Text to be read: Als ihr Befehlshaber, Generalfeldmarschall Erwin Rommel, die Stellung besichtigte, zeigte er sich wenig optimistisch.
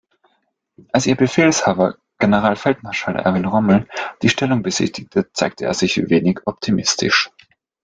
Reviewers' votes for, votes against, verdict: 2, 0, accepted